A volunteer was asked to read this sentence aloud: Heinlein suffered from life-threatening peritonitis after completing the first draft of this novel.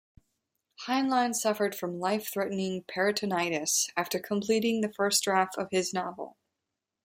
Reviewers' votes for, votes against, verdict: 0, 2, rejected